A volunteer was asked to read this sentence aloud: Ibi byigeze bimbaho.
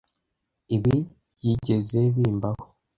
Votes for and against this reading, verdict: 2, 0, accepted